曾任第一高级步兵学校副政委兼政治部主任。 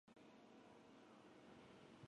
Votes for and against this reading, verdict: 0, 2, rejected